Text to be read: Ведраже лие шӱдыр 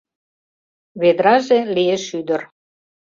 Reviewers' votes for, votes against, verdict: 2, 0, accepted